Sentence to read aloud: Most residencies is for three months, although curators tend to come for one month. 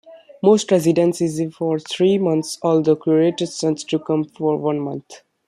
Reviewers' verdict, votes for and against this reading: rejected, 1, 2